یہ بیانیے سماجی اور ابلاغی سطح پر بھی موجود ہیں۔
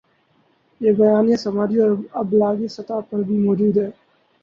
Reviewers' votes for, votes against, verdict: 0, 2, rejected